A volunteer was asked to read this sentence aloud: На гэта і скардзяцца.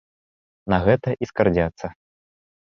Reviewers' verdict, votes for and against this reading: rejected, 0, 2